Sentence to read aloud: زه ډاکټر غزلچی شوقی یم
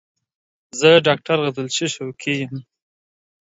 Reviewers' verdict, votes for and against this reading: accepted, 2, 0